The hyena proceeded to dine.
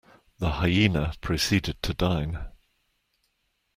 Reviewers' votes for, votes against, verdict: 2, 0, accepted